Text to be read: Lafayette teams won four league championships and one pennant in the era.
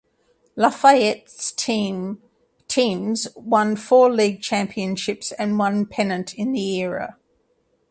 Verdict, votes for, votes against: rejected, 0, 2